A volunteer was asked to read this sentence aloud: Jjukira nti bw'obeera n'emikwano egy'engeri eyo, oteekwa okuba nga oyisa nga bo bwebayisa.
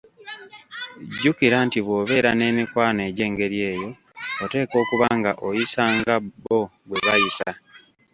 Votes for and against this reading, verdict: 2, 1, accepted